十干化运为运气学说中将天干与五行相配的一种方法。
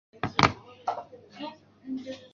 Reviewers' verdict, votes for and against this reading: rejected, 0, 3